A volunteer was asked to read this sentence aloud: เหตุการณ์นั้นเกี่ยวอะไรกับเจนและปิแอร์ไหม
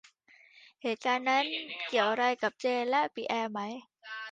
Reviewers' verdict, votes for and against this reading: accepted, 2, 1